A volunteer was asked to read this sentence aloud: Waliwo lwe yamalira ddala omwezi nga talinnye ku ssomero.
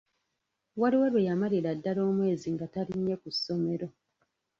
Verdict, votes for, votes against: rejected, 0, 2